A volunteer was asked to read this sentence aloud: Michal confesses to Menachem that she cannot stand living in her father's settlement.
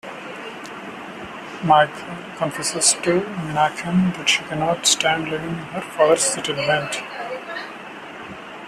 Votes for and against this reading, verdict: 0, 2, rejected